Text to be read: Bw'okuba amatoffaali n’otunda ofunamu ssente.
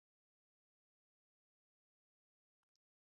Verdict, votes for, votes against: rejected, 0, 2